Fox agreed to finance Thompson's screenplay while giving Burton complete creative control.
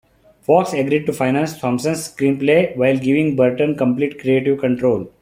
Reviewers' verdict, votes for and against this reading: accepted, 2, 0